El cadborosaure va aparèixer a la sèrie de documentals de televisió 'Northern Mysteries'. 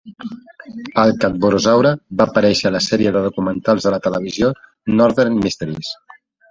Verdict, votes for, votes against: accepted, 2, 0